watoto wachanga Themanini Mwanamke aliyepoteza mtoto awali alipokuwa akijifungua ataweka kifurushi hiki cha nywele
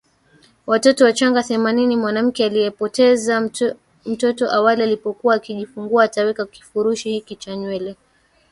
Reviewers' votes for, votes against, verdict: 2, 1, accepted